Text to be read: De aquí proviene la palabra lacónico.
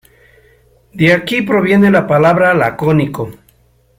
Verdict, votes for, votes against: rejected, 0, 2